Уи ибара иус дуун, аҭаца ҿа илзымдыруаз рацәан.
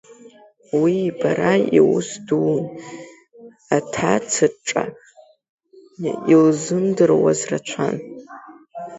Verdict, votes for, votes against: rejected, 1, 2